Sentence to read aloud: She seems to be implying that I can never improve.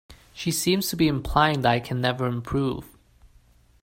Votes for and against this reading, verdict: 0, 2, rejected